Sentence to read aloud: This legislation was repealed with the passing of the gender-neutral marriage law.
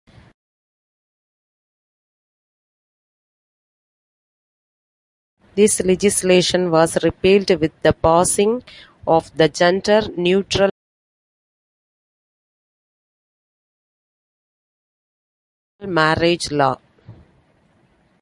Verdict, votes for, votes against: rejected, 0, 2